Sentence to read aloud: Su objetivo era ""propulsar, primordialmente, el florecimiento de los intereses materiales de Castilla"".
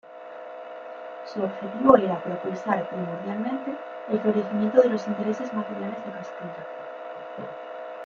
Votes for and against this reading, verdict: 2, 1, accepted